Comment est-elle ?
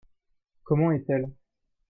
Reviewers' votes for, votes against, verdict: 2, 0, accepted